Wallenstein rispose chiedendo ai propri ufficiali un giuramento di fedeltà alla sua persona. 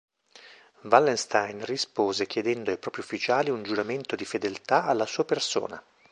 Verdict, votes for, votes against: accepted, 2, 0